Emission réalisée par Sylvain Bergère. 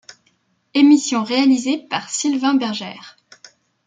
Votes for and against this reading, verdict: 2, 0, accepted